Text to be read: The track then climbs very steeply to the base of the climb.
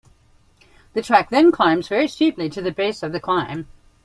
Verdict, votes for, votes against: accepted, 2, 0